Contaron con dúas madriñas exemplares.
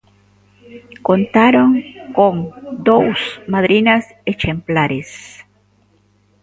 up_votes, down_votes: 0, 2